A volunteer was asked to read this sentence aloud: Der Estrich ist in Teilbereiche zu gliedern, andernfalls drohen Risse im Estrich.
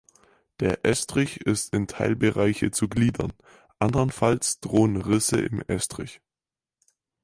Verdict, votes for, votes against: accepted, 4, 0